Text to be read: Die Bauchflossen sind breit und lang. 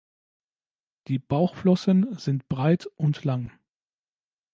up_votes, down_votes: 2, 0